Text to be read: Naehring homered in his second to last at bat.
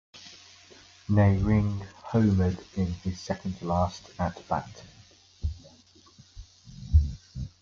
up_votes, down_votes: 2, 1